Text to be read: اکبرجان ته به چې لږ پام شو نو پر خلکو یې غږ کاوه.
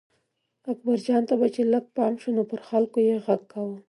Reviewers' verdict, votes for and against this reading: accepted, 2, 0